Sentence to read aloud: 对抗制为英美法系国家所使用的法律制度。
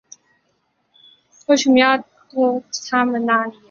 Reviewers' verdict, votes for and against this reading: rejected, 0, 2